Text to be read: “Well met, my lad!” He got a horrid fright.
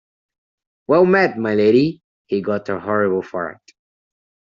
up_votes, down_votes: 0, 2